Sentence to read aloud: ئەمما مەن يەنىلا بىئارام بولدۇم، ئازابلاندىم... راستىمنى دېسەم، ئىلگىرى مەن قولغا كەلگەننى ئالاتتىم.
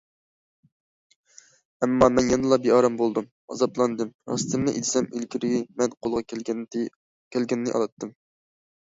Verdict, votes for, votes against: rejected, 0, 2